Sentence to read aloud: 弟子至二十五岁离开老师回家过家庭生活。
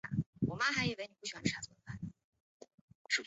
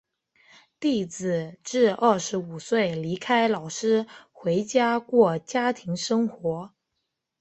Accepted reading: second